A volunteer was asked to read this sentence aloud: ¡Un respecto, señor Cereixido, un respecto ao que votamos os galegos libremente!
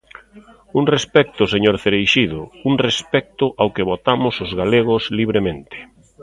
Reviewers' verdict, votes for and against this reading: accepted, 2, 0